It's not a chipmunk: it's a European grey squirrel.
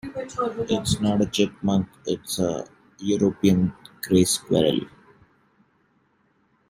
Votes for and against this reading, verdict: 0, 2, rejected